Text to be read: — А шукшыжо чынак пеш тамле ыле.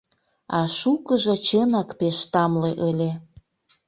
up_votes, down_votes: 1, 2